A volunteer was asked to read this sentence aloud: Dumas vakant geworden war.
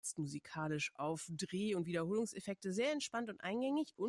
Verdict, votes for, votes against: rejected, 0, 2